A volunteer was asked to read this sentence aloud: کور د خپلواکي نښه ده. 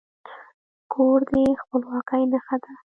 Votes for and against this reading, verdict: 2, 1, accepted